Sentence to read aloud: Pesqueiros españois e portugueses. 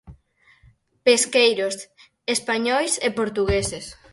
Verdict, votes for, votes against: accepted, 4, 0